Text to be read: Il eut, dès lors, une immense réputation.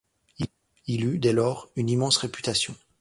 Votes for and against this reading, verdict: 1, 2, rejected